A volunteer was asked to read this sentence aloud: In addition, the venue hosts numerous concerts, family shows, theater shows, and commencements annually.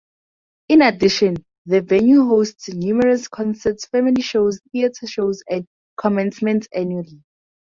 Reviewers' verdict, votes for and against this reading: accepted, 4, 0